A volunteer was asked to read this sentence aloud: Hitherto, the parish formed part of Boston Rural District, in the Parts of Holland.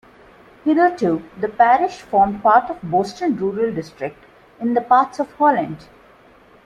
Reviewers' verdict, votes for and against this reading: accepted, 2, 0